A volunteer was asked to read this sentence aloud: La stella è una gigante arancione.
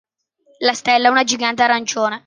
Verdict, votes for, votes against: accepted, 2, 0